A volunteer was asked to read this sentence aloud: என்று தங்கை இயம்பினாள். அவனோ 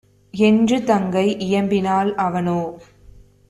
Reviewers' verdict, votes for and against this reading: accepted, 2, 0